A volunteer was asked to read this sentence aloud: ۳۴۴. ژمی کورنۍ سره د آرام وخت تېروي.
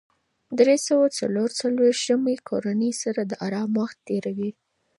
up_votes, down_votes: 0, 2